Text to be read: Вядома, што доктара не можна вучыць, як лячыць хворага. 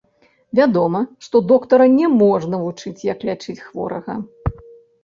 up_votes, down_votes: 0, 2